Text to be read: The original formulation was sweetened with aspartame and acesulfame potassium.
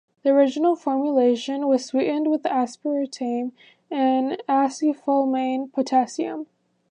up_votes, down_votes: 2, 1